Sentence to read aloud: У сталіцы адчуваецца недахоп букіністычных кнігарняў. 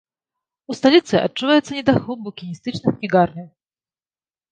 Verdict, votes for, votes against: rejected, 1, 2